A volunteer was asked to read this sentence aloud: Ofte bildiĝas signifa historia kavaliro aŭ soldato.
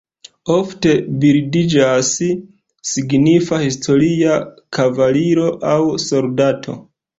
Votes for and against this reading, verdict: 2, 0, accepted